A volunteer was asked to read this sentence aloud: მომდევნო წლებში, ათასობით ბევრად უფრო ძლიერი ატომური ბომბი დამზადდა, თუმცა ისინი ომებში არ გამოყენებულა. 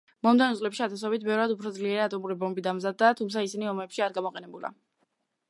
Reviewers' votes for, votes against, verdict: 1, 2, rejected